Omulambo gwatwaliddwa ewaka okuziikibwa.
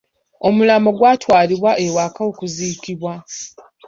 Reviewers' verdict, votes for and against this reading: rejected, 1, 2